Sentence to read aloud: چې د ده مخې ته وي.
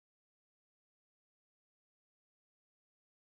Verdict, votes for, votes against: accepted, 4, 0